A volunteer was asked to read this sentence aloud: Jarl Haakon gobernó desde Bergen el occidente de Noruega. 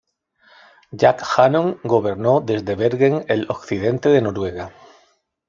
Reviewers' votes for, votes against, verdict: 2, 0, accepted